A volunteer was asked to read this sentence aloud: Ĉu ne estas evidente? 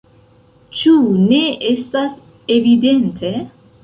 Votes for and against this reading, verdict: 2, 1, accepted